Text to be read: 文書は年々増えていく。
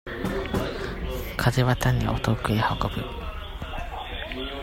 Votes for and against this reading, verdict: 0, 2, rejected